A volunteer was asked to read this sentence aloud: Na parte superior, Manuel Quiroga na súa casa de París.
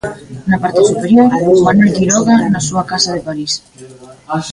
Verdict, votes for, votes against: rejected, 0, 2